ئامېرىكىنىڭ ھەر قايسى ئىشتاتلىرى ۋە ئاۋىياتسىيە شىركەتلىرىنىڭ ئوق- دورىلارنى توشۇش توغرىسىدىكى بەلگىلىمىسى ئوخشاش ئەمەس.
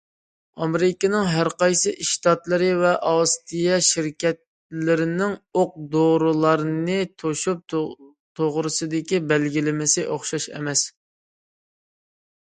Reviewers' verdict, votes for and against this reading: rejected, 0, 2